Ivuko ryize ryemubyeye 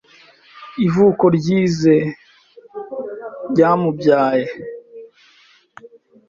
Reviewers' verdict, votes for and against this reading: rejected, 1, 2